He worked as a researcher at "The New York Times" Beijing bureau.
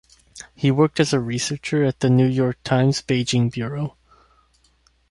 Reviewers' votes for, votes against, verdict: 2, 0, accepted